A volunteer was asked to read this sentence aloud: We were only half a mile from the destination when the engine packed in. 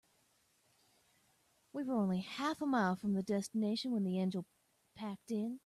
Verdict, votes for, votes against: accepted, 2, 0